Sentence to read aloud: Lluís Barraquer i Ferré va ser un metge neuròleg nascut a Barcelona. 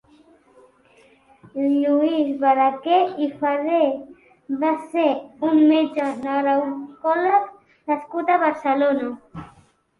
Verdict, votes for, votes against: accepted, 2, 1